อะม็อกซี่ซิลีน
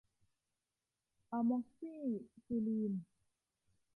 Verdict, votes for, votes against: accepted, 2, 1